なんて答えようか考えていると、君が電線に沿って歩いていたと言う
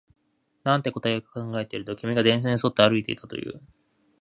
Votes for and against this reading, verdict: 4, 0, accepted